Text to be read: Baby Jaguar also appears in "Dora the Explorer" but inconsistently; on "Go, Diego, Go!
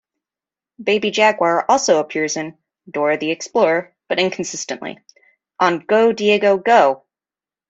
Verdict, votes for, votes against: accepted, 2, 0